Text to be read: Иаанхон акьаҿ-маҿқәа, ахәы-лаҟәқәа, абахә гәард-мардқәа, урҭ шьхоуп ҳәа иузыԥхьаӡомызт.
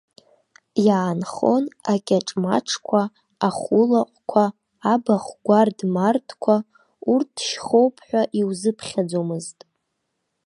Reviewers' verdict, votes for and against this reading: accepted, 2, 0